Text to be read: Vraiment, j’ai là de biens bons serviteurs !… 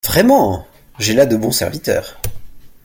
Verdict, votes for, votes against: rejected, 1, 2